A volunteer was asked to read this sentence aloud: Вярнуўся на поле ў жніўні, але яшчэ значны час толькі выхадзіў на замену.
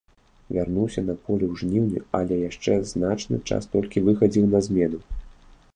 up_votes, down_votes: 0, 2